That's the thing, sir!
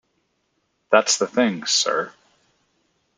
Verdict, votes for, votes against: accepted, 2, 0